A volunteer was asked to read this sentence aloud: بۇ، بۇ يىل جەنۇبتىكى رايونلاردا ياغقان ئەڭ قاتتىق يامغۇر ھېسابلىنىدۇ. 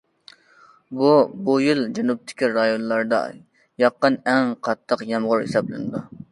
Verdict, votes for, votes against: accepted, 2, 0